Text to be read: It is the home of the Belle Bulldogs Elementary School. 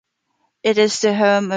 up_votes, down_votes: 0, 5